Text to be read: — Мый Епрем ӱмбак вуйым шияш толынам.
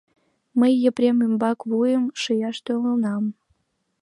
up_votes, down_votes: 2, 1